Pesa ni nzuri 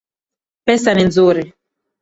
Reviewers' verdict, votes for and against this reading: accepted, 3, 0